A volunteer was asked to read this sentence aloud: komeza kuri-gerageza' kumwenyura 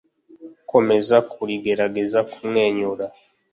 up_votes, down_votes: 2, 0